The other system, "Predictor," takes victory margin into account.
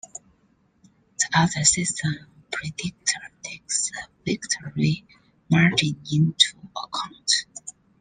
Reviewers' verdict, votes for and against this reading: accepted, 2, 1